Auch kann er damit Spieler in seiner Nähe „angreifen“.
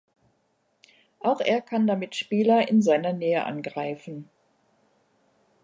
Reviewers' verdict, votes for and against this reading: rejected, 1, 2